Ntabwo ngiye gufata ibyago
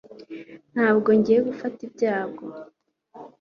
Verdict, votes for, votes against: accepted, 2, 0